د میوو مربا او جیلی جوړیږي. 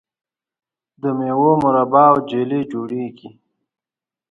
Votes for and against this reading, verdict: 0, 2, rejected